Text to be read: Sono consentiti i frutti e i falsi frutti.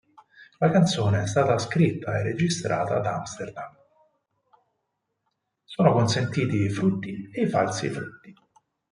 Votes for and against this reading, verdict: 0, 4, rejected